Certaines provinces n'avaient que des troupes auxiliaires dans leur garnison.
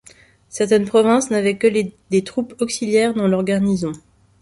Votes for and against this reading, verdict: 1, 2, rejected